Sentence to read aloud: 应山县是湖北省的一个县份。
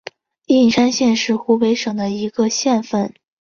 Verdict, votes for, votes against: accepted, 2, 1